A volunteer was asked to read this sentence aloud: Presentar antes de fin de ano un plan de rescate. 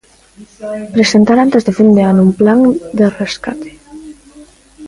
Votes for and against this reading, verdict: 0, 2, rejected